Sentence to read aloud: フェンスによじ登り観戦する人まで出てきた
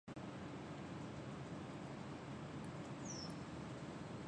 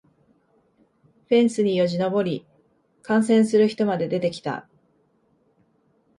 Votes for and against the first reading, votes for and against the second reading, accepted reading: 0, 2, 2, 0, second